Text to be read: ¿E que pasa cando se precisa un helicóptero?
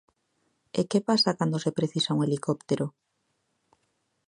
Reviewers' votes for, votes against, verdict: 2, 0, accepted